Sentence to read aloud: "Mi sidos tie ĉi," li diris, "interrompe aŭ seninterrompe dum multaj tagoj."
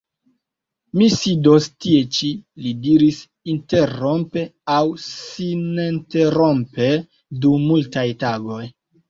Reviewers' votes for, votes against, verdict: 1, 2, rejected